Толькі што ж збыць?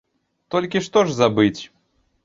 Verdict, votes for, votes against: rejected, 0, 2